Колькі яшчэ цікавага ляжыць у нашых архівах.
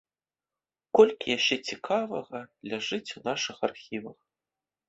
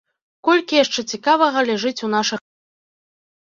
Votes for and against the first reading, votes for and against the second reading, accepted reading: 2, 0, 0, 3, first